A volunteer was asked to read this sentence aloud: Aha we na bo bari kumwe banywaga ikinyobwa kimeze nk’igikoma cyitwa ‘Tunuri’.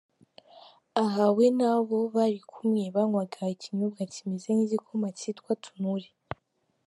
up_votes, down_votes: 3, 0